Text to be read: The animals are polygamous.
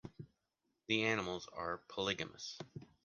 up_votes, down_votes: 2, 0